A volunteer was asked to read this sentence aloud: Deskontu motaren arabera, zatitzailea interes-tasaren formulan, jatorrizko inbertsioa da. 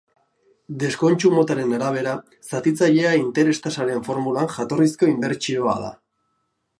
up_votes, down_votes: 2, 1